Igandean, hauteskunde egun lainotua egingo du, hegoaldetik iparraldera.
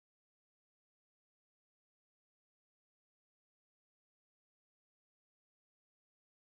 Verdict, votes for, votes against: rejected, 0, 2